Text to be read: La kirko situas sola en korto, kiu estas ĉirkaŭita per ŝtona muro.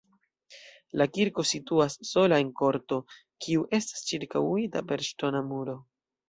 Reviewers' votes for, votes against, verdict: 2, 0, accepted